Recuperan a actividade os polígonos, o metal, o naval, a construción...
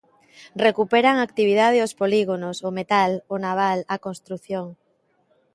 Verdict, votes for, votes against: accepted, 2, 0